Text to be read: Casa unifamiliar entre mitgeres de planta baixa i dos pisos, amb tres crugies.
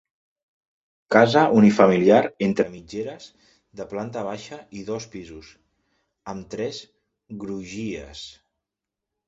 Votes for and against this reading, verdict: 1, 2, rejected